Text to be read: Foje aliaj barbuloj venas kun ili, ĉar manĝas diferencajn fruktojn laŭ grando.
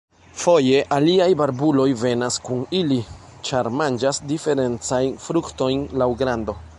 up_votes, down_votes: 2, 1